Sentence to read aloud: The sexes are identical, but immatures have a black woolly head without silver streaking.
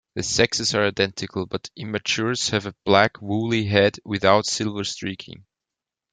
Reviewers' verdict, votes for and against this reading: accepted, 2, 1